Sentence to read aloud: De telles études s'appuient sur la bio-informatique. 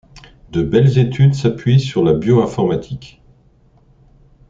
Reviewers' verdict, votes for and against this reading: rejected, 1, 2